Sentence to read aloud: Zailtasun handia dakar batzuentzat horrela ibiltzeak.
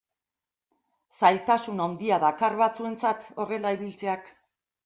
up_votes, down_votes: 2, 0